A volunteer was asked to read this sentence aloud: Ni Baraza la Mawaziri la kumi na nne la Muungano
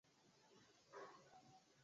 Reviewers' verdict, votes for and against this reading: rejected, 0, 2